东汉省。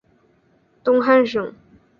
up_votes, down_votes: 6, 2